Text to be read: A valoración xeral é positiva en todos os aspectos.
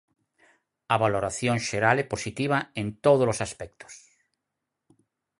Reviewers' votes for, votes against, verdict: 4, 0, accepted